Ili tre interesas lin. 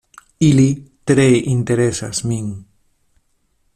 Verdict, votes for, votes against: rejected, 1, 2